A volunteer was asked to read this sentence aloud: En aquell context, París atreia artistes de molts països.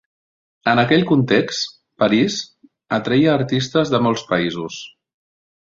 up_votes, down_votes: 3, 0